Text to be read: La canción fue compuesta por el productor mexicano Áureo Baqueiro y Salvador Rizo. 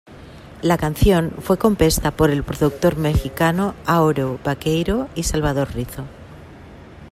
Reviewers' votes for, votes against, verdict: 0, 2, rejected